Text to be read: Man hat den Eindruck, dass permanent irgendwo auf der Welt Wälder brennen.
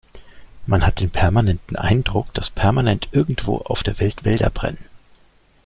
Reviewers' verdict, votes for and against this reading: rejected, 0, 2